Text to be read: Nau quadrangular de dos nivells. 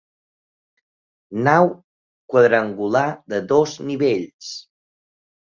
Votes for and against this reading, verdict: 2, 0, accepted